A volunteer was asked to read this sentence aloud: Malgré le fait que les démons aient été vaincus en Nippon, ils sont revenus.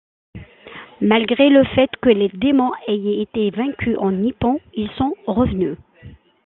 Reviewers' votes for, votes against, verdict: 2, 1, accepted